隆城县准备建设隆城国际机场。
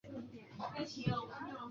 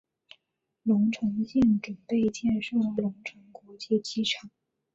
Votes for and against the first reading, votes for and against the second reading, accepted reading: 1, 3, 2, 1, second